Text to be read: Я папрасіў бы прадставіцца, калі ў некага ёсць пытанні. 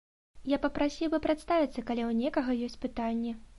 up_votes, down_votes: 2, 0